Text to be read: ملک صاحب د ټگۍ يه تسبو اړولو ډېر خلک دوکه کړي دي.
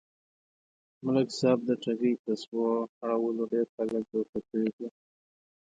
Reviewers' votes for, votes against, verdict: 0, 2, rejected